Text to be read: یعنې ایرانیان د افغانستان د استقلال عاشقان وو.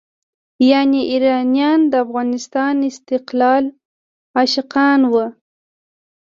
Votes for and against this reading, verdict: 2, 0, accepted